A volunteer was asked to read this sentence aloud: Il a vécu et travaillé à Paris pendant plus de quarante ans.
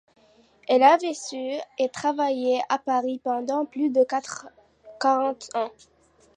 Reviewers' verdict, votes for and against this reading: rejected, 0, 2